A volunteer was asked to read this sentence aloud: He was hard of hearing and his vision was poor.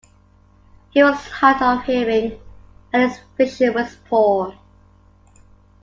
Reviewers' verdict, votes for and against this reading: accepted, 2, 1